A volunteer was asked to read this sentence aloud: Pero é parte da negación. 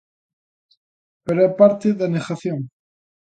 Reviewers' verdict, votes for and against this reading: accepted, 2, 0